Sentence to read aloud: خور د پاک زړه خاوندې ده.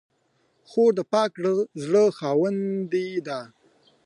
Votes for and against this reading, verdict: 2, 0, accepted